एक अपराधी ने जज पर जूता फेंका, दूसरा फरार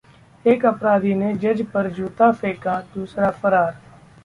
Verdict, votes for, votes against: accepted, 2, 0